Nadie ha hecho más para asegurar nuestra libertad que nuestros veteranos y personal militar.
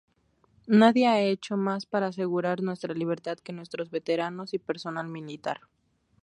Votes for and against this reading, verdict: 0, 2, rejected